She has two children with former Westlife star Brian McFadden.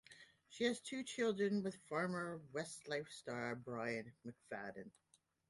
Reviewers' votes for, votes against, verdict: 2, 1, accepted